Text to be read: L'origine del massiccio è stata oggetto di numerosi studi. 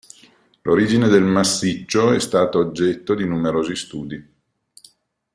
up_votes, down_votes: 0, 2